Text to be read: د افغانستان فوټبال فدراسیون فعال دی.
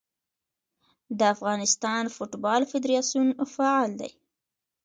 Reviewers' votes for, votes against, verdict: 2, 0, accepted